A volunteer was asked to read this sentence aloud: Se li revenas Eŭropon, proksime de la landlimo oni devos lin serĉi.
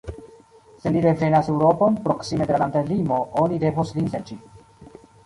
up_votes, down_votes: 2, 0